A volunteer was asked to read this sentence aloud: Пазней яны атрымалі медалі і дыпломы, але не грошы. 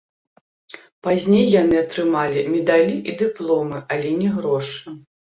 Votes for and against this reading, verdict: 0, 2, rejected